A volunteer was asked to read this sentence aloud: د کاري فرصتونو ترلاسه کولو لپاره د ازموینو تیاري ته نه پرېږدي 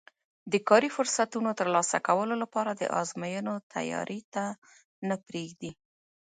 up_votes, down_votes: 0, 3